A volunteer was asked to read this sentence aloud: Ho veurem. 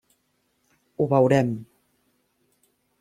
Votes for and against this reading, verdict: 3, 0, accepted